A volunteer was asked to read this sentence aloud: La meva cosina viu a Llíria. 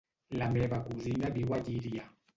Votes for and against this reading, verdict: 0, 2, rejected